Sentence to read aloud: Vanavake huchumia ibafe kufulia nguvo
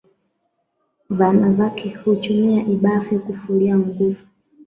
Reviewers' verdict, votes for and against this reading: rejected, 1, 2